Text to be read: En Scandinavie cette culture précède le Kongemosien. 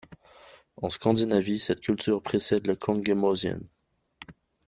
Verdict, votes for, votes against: accepted, 2, 0